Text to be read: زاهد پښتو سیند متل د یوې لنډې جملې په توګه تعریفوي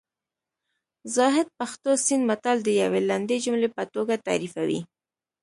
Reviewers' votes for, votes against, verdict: 2, 0, accepted